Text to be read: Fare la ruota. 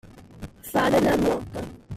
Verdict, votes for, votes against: rejected, 0, 2